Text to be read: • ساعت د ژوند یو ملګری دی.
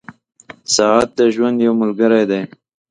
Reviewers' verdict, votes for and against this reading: accepted, 2, 0